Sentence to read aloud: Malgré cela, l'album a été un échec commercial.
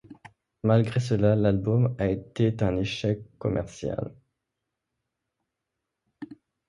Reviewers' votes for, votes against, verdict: 0, 2, rejected